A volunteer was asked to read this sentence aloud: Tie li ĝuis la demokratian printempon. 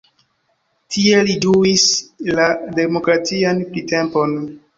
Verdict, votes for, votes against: rejected, 0, 2